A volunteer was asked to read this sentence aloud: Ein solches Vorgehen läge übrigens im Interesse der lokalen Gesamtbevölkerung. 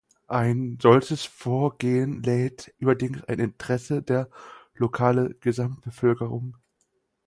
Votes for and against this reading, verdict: 0, 4, rejected